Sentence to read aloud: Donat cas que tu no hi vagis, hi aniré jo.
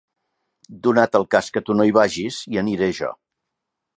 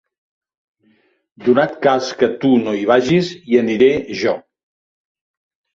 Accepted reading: second